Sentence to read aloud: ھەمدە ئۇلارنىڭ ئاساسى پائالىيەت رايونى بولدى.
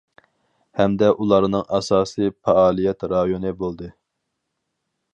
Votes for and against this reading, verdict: 4, 0, accepted